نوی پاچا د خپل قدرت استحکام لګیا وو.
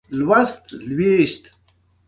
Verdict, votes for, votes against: accepted, 2, 0